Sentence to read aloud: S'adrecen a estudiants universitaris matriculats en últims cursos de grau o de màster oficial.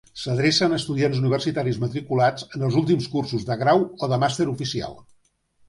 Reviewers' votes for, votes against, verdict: 1, 2, rejected